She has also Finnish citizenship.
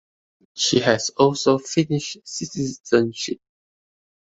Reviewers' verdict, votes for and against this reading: accepted, 2, 0